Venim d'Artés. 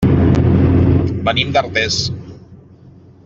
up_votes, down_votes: 3, 0